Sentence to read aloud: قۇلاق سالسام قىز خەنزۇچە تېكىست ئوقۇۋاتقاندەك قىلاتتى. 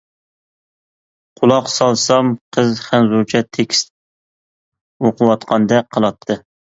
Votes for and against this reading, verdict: 2, 0, accepted